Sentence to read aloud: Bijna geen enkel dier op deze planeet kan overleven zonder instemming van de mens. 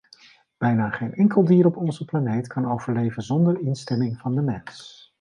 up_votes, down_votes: 1, 2